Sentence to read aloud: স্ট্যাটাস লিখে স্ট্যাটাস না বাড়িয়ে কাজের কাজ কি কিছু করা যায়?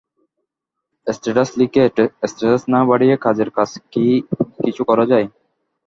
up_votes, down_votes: 0, 2